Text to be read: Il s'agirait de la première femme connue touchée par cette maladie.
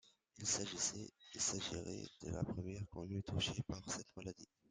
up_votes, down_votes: 0, 2